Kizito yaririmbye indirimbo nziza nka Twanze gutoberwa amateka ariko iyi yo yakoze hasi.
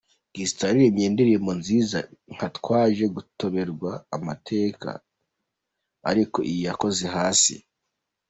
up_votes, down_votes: 1, 2